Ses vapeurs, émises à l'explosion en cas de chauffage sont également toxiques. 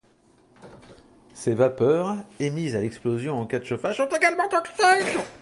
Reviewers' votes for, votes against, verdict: 0, 2, rejected